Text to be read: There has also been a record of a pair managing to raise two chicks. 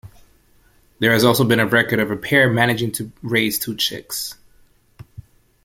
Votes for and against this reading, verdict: 2, 0, accepted